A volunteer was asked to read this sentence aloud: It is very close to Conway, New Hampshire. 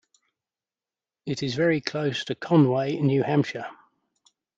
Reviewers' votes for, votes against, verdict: 2, 1, accepted